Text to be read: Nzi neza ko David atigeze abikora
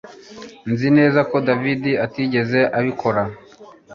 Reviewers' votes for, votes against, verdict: 2, 0, accepted